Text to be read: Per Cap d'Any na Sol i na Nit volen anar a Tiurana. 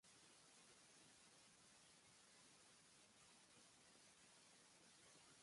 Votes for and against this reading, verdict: 0, 2, rejected